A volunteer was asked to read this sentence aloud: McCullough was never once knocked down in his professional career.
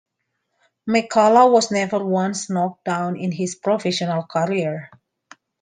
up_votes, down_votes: 2, 1